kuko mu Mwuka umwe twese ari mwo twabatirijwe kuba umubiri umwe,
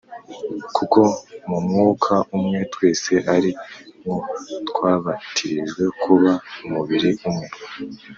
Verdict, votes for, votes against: accepted, 3, 0